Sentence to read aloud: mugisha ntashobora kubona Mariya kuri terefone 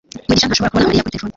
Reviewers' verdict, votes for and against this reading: rejected, 1, 2